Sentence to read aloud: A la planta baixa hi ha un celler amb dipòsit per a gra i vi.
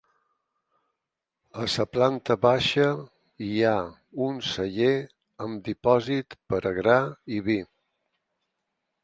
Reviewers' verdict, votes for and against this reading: rejected, 0, 4